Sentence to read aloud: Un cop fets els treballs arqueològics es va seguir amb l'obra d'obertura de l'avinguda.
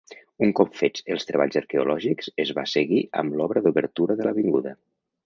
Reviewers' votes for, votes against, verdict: 2, 0, accepted